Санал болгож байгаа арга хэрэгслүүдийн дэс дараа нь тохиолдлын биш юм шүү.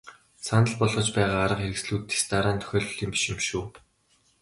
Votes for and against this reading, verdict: 0, 2, rejected